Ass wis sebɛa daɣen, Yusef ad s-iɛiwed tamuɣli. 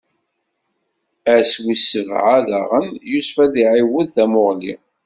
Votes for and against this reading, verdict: 2, 0, accepted